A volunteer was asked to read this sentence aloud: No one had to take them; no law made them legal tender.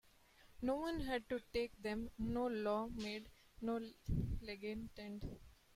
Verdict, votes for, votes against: rejected, 0, 2